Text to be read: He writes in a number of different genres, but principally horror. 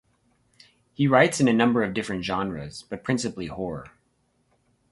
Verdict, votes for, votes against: rejected, 2, 2